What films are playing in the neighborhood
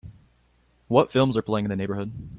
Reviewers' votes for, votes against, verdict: 2, 0, accepted